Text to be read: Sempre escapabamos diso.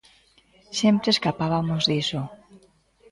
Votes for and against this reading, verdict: 2, 0, accepted